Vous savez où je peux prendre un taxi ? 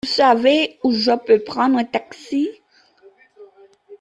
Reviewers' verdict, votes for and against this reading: accepted, 2, 1